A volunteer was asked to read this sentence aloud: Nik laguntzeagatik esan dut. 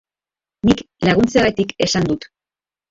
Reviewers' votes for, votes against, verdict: 2, 0, accepted